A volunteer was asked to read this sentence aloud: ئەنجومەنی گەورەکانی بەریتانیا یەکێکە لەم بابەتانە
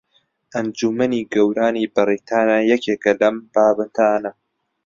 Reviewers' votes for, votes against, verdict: 0, 2, rejected